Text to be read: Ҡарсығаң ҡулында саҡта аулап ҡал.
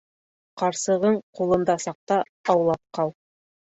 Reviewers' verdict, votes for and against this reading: rejected, 0, 2